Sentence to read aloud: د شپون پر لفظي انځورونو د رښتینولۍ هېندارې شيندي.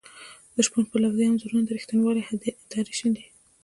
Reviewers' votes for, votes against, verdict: 2, 0, accepted